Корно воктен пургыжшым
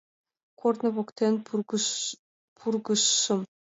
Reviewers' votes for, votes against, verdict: 0, 3, rejected